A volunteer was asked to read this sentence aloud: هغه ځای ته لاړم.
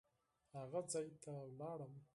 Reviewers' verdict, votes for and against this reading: rejected, 2, 4